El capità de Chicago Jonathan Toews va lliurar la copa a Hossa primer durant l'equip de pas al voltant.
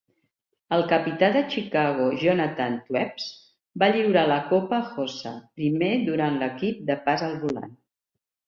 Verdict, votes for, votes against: accepted, 2, 1